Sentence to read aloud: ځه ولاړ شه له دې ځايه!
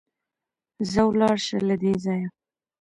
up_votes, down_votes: 1, 2